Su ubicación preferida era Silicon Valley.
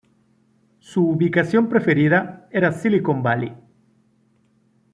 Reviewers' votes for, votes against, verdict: 2, 0, accepted